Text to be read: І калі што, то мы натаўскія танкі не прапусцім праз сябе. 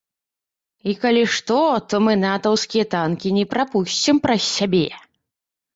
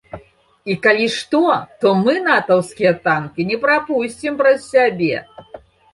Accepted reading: second